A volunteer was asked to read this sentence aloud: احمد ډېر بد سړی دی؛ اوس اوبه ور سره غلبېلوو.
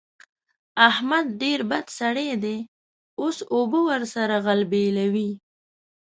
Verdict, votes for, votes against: rejected, 1, 2